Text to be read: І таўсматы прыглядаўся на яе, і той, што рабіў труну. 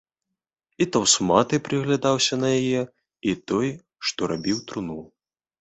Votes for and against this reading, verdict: 2, 0, accepted